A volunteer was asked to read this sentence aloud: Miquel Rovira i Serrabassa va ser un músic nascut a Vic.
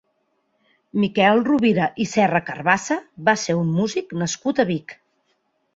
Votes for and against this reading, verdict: 0, 2, rejected